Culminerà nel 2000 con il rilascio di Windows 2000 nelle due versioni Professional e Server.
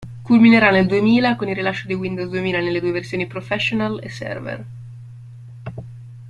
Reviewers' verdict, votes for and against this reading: rejected, 0, 2